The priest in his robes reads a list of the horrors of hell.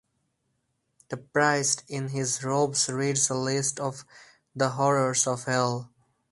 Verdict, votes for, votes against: rejected, 0, 4